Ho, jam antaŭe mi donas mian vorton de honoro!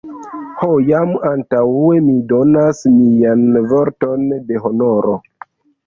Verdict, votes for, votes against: rejected, 0, 2